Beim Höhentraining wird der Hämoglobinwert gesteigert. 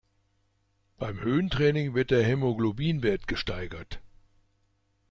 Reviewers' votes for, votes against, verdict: 2, 0, accepted